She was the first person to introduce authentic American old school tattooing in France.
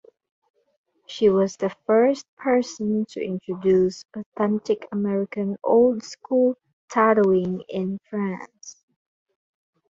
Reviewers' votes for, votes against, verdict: 0, 4, rejected